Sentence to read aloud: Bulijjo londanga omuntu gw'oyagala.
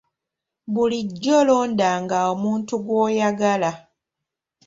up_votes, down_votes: 3, 0